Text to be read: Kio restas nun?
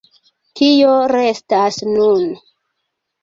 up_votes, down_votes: 2, 0